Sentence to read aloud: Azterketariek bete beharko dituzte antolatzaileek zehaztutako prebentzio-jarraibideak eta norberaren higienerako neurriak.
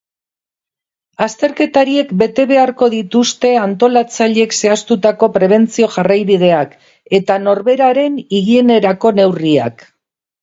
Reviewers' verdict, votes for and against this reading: accepted, 4, 0